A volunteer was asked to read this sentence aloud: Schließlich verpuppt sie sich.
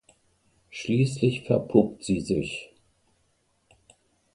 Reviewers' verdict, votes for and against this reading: accepted, 2, 0